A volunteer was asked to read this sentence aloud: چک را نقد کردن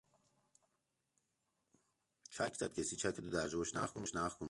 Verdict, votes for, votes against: rejected, 0, 3